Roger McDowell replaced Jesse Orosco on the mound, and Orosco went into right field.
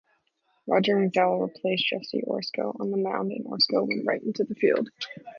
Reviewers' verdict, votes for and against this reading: rejected, 0, 2